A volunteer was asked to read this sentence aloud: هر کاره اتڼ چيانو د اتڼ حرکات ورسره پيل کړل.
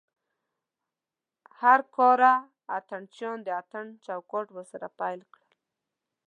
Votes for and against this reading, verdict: 1, 2, rejected